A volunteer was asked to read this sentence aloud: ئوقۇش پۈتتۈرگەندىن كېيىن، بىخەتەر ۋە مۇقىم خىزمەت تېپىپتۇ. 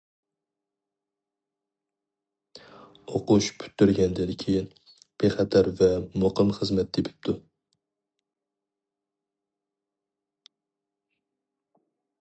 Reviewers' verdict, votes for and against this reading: accepted, 4, 0